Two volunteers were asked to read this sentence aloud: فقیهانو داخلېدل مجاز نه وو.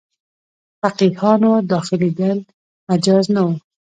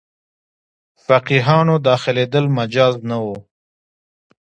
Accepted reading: second